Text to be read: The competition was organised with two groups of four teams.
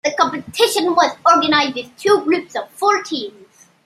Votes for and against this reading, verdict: 0, 2, rejected